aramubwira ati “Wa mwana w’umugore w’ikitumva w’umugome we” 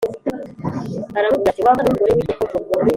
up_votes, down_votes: 1, 3